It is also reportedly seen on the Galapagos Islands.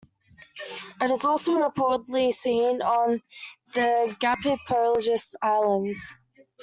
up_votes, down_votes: 0, 2